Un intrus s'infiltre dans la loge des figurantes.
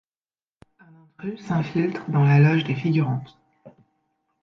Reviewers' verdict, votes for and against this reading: rejected, 0, 2